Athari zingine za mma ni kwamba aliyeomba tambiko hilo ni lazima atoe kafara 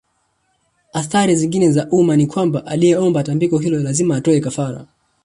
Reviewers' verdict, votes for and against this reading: rejected, 0, 2